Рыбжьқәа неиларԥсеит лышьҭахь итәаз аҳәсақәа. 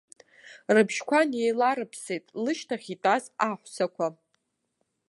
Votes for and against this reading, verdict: 2, 0, accepted